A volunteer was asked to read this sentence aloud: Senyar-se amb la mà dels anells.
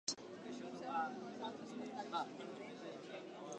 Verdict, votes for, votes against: rejected, 1, 2